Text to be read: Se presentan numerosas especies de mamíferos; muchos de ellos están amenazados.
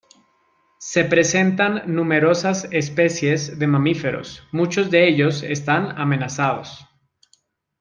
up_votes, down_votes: 2, 1